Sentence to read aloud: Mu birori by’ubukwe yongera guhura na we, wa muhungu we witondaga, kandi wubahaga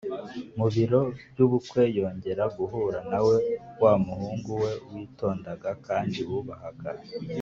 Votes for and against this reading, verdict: 0, 2, rejected